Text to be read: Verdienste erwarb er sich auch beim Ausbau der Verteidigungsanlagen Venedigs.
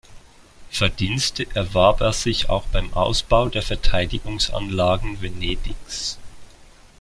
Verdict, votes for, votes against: accepted, 2, 0